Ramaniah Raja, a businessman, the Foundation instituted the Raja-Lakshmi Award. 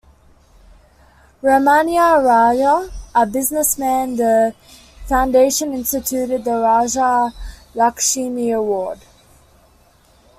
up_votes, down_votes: 2, 1